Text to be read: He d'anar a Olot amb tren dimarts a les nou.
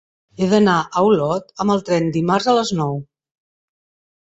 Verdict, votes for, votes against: rejected, 2, 3